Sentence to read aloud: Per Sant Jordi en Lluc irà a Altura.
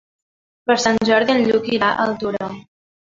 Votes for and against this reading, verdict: 1, 2, rejected